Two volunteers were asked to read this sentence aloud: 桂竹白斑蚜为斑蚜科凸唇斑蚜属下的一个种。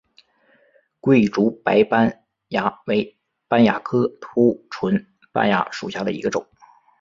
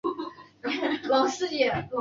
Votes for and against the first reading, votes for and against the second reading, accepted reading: 2, 0, 1, 3, first